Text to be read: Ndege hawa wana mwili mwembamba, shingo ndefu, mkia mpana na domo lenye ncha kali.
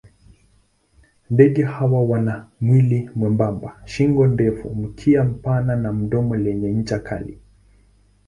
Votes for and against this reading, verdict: 0, 2, rejected